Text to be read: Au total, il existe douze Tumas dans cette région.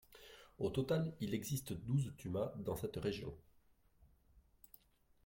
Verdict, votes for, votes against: rejected, 1, 2